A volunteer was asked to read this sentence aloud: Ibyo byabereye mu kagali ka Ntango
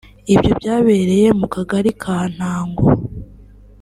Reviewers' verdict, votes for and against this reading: accepted, 3, 0